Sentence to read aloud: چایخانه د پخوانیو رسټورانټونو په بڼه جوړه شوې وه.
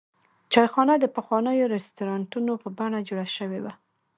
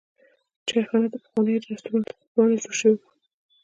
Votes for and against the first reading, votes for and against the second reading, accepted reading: 1, 2, 2, 0, second